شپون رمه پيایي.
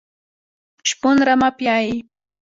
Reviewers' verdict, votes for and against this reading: rejected, 1, 2